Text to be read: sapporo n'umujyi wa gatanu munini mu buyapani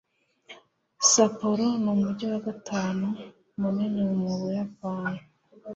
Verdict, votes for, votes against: accepted, 2, 0